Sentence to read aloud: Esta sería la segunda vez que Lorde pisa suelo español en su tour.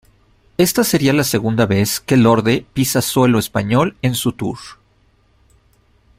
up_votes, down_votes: 0, 2